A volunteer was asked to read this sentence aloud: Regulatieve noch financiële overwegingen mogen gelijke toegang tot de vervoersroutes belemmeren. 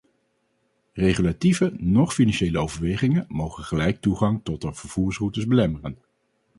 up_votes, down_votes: 0, 2